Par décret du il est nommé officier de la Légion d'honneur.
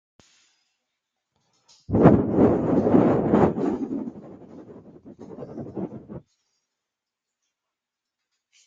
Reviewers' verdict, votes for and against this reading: rejected, 0, 2